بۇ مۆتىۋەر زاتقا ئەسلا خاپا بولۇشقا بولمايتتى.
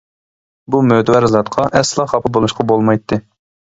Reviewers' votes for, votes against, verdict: 2, 0, accepted